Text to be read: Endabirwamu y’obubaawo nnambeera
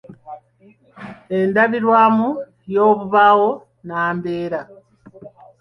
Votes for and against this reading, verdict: 2, 0, accepted